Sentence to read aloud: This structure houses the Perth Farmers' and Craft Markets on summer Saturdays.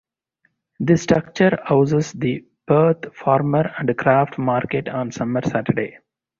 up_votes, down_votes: 2, 2